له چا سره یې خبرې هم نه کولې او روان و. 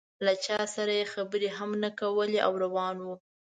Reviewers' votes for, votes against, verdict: 2, 0, accepted